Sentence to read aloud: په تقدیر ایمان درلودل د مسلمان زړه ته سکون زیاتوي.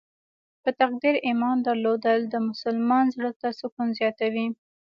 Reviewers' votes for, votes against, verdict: 0, 2, rejected